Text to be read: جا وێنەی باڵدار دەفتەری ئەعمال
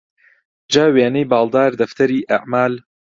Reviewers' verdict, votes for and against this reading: accepted, 2, 0